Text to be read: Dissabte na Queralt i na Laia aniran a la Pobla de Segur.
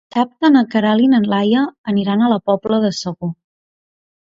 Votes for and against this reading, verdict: 1, 2, rejected